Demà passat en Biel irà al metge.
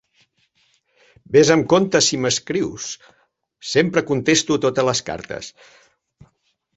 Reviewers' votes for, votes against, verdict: 1, 2, rejected